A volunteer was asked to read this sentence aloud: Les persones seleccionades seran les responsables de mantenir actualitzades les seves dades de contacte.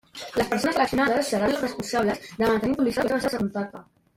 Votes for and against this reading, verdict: 0, 2, rejected